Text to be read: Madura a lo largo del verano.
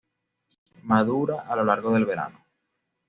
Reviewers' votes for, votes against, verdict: 2, 0, accepted